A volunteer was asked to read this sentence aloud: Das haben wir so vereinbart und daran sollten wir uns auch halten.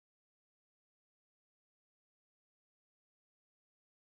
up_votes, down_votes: 1, 2